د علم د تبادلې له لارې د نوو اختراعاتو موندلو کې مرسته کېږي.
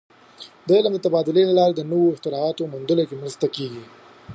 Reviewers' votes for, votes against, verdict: 3, 0, accepted